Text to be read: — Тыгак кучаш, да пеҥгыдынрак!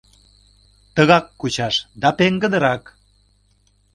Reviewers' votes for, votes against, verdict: 2, 1, accepted